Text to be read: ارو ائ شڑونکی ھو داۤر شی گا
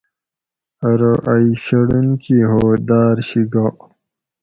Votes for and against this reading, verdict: 4, 0, accepted